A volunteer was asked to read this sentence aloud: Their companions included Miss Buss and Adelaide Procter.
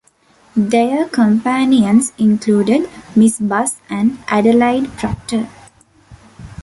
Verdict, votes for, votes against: accepted, 2, 1